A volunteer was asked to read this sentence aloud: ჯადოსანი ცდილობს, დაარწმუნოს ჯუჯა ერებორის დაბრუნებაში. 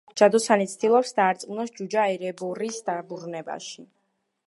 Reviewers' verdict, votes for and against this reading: accepted, 2, 0